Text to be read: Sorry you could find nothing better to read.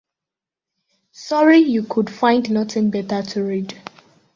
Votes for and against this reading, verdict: 2, 0, accepted